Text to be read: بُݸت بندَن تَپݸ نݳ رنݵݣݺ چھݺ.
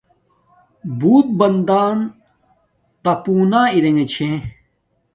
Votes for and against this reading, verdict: 1, 2, rejected